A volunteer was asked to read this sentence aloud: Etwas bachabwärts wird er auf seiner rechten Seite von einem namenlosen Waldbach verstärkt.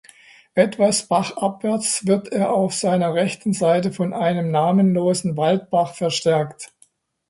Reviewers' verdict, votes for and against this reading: accepted, 2, 0